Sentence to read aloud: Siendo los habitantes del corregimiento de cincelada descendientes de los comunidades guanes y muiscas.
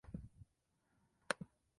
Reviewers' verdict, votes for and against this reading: rejected, 0, 2